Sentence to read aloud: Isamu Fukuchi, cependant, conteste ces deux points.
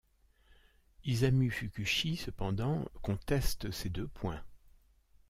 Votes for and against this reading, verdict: 0, 2, rejected